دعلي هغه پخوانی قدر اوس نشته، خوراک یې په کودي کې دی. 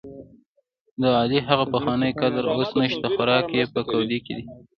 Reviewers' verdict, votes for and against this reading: rejected, 0, 2